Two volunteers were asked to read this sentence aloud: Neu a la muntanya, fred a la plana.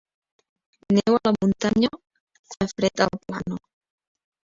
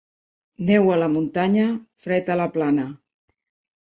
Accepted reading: second